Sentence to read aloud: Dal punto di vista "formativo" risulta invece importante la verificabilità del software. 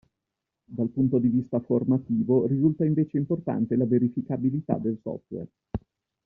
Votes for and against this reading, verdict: 1, 2, rejected